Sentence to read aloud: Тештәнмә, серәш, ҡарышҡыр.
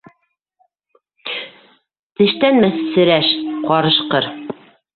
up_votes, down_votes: 2, 0